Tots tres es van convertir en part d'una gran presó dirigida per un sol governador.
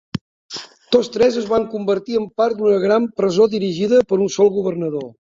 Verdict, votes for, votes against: accepted, 2, 0